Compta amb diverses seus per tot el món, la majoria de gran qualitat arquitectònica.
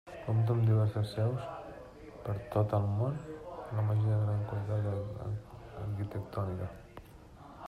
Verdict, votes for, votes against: rejected, 0, 3